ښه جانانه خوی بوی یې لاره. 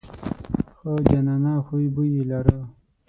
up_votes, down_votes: 3, 6